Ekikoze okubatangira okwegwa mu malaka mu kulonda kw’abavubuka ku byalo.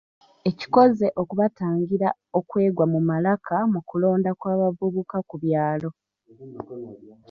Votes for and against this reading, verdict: 1, 2, rejected